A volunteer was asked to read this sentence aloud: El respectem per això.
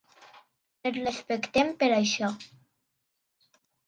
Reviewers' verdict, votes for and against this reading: accepted, 2, 1